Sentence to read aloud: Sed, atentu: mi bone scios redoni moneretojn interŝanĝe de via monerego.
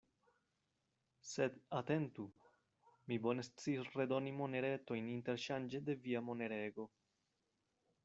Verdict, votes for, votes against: rejected, 1, 2